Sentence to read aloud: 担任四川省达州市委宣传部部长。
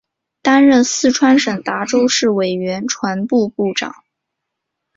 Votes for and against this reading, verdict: 1, 2, rejected